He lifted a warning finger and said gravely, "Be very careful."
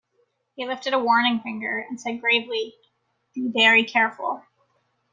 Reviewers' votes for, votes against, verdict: 2, 0, accepted